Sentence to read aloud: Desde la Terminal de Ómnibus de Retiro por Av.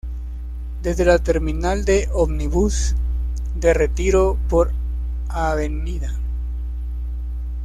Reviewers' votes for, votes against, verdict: 1, 2, rejected